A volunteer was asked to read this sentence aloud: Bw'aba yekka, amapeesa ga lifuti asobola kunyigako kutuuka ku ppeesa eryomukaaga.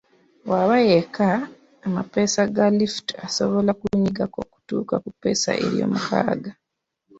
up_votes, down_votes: 2, 0